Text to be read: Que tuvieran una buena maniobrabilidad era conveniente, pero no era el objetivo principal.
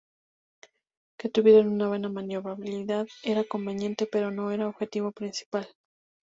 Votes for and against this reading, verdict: 0, 2, rejected